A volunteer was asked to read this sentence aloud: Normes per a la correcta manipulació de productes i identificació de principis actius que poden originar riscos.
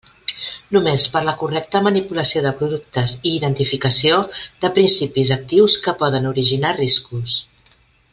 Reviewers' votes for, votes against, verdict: 1, 2, rejected